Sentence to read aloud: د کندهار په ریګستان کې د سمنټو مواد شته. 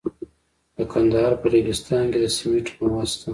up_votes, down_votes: 2, 0